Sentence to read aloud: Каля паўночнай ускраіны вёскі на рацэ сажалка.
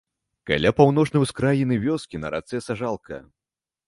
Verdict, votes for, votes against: rejected, 1, 2